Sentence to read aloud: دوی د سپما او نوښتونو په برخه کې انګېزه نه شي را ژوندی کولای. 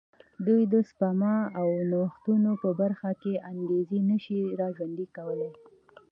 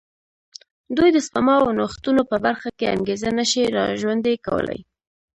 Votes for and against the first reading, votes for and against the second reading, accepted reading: 2, 0, 1, 2, first